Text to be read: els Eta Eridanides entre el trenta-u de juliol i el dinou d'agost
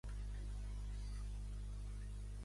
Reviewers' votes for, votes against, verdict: 0, 2, rejected